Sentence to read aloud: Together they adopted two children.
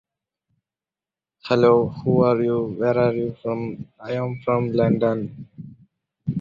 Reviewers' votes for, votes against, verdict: 0, 2, rejected